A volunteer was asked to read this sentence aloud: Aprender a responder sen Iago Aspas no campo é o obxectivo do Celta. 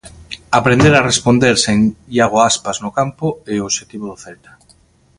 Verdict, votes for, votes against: accepted, 2, 0